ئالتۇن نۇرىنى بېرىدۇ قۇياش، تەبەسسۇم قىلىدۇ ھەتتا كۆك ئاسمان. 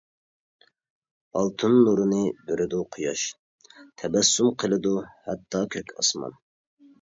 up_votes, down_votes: 2, 0